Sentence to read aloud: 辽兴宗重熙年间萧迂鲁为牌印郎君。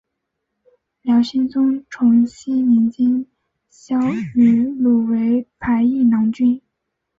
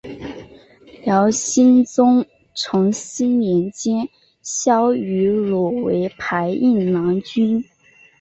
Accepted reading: second